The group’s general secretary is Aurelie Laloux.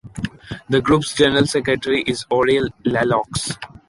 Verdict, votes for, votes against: accepted, 2, 0